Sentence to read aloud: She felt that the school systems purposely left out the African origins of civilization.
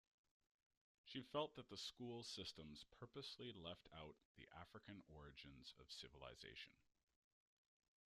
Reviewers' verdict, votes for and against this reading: rejected, 1, 2